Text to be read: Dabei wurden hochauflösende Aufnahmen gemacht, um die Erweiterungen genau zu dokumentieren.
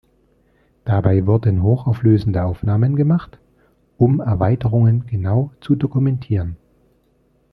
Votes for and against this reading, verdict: 1, 2, rejected